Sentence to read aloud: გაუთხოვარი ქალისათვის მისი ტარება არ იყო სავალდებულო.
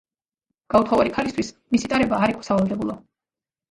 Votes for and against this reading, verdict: 1, 2, rejected